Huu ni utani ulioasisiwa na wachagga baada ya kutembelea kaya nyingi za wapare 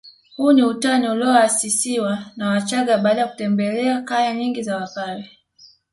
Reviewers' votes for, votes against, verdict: 2, 0, accepted